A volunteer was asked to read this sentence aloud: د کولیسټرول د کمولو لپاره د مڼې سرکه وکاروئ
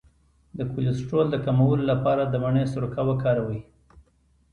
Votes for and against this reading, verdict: 2, 1, accepted